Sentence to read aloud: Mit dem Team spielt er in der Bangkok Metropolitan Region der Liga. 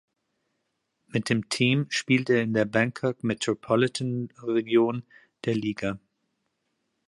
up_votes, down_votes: 2, 0